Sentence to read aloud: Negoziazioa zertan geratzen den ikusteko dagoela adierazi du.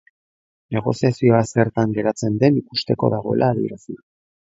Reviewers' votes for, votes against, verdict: 2, 0, accepted